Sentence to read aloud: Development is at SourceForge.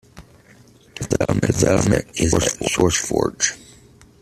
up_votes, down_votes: 0, 2